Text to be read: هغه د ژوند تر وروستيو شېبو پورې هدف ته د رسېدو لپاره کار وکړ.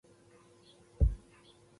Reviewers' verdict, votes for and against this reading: rejected, 1, 2